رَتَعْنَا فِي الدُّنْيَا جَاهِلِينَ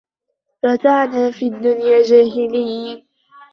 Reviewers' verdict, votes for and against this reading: accepted, 2, 1